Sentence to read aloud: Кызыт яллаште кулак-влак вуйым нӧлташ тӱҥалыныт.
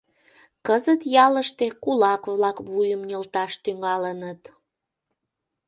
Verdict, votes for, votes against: rejected, 0, 2